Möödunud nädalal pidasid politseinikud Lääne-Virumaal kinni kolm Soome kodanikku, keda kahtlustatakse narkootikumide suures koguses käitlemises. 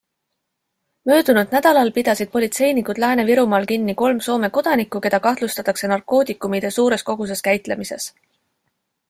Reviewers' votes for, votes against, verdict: 2, 0, accepted